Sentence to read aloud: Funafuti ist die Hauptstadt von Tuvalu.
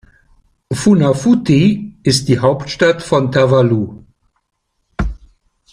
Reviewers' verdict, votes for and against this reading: rejected, 0, 2